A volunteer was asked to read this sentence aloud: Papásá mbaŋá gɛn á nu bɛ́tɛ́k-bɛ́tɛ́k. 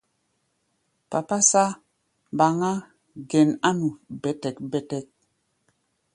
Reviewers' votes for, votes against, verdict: 1, 2, rejected